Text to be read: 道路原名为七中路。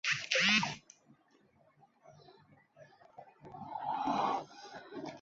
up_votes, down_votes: 1, 2